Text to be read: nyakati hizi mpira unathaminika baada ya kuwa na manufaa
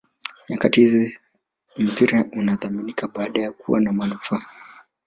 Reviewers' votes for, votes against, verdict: 1, 2, rejected